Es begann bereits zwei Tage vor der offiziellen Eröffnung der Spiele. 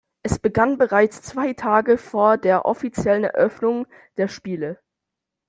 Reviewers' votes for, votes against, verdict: 2, 0, accepted